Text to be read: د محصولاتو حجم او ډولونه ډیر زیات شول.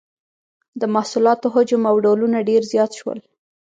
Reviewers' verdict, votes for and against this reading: accepted, 2, 0